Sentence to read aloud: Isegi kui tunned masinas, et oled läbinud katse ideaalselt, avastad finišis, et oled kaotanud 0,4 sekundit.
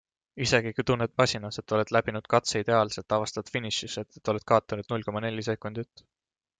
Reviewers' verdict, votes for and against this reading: rejected, 0, 2